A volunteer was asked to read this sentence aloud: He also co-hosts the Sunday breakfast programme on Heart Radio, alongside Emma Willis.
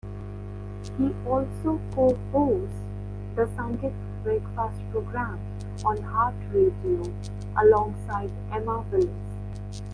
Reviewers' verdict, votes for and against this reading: rejected, 1, 2